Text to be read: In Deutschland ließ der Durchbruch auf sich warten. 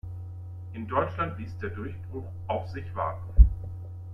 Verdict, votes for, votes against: accepted, 2, 1